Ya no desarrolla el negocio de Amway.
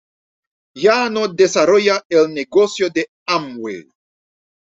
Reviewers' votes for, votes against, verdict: 2, 0, accepted